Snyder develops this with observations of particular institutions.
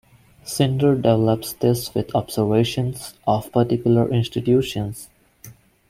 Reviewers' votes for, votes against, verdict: 0, 2, rejected